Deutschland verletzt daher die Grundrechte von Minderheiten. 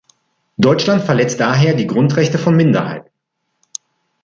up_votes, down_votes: 1, 2